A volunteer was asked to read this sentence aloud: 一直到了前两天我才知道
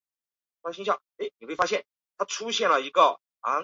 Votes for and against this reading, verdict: 0, 4, rejected